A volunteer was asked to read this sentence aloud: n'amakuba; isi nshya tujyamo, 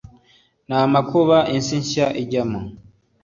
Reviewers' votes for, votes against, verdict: 1, 2, rejected